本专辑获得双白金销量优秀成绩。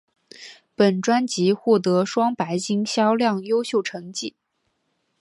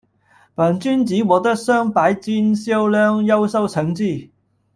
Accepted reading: first